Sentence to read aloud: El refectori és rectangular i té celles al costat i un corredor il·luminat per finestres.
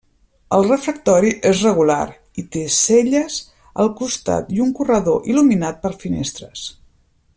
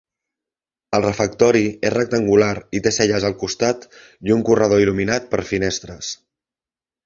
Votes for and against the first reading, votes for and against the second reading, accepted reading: 1, 2, 4, 0, second